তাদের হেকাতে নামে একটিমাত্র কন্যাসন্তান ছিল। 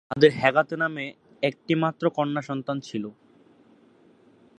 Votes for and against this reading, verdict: 0, 2, rejected